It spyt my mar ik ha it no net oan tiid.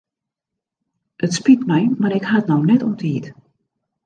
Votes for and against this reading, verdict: 2, 0, accepted